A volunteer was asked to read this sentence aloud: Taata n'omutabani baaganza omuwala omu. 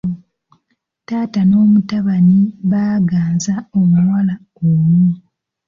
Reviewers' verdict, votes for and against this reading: rejected, 1, 2